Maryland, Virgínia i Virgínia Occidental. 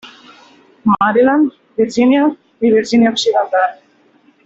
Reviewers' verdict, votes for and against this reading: rejected, 1, 2